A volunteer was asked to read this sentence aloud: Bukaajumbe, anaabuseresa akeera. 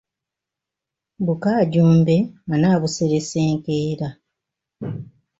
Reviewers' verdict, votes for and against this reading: rejected, 0, 2